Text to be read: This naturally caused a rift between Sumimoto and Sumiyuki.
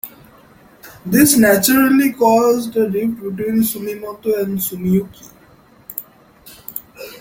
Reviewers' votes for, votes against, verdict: 0, 2, rejected